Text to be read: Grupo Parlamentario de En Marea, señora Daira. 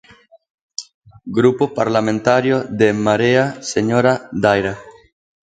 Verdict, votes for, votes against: accepted, 2, 0